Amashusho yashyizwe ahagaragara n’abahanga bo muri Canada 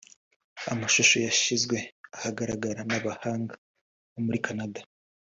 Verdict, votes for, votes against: accepted, 2, 0